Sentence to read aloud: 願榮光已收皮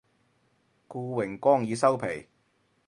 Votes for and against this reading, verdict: 2, 2, rejected